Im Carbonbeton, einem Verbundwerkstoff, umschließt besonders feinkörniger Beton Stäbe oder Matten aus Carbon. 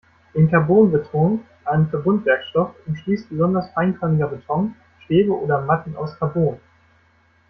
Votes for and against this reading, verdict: 1, 2, rejected